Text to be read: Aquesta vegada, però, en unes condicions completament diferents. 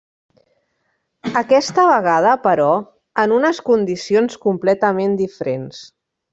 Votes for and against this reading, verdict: 1, 2, rejected